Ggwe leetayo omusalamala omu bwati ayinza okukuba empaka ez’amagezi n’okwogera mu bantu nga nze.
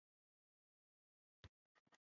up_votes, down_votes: 0, 2